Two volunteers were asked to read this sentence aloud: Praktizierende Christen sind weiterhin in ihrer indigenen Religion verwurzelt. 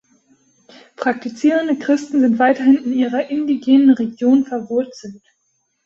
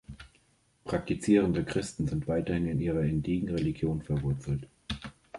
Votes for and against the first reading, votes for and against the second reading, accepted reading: 2, 1, 1, 2, first